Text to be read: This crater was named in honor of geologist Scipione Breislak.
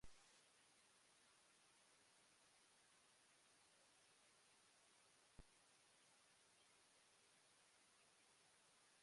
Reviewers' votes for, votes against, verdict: 0, 2, rejected